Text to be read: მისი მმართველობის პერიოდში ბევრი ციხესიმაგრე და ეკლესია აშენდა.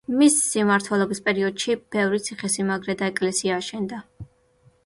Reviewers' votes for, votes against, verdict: 2, 1, accepted